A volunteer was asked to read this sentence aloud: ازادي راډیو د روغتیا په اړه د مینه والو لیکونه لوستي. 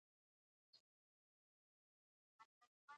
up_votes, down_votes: 1, 2